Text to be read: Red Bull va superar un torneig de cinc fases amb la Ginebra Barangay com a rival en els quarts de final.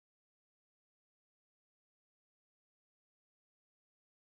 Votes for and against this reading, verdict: 0, 2, rejected